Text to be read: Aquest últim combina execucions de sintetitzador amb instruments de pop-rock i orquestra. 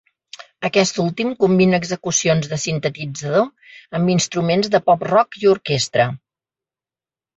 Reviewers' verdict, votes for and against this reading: accepted, 2, 0